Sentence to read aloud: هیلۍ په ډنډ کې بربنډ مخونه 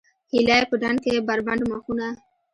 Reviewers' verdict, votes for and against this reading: rejected, 1, 2